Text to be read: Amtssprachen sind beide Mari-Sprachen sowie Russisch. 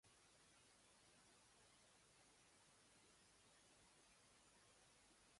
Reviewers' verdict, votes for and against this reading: rejected, 0, 2